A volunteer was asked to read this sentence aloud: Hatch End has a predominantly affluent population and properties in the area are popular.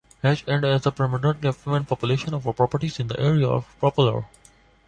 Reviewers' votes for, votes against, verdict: 0, 2, rejected